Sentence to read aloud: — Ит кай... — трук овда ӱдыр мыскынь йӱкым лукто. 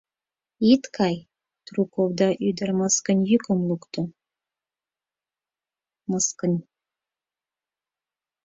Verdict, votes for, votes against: rejected, 0, 4